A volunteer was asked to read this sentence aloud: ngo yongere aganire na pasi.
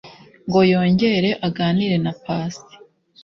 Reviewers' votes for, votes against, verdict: 2, 0, accepted